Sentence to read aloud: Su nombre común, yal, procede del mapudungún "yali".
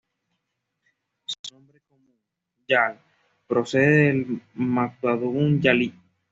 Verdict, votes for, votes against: rejected, 1, 2